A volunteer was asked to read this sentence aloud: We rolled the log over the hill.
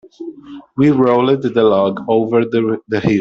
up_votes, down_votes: 1, 2